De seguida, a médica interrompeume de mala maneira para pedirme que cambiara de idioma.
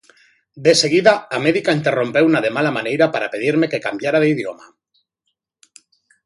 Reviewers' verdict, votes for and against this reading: rejected, 0, 2